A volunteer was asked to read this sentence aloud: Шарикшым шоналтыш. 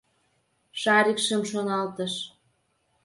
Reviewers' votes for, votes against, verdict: 2, 0, accepted